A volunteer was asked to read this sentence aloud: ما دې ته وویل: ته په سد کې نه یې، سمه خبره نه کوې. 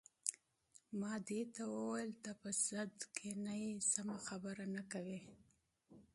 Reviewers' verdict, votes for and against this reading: accepted, 2, 0